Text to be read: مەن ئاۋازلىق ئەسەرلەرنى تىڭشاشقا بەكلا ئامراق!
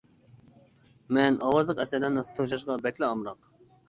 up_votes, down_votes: 1, 2